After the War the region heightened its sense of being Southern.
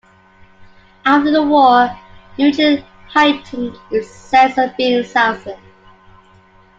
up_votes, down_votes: 0, 2